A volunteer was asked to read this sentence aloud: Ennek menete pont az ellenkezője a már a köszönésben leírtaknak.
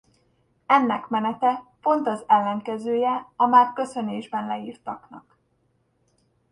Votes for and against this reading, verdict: 0, 2, rejected